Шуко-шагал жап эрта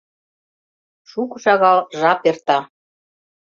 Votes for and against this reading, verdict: 2, 0, accepted